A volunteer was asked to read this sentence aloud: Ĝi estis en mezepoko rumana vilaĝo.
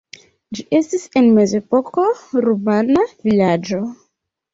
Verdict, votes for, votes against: accepted, 2, 0